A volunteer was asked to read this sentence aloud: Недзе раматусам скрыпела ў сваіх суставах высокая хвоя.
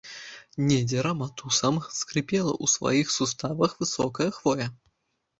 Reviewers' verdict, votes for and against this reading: rejected, 1, 2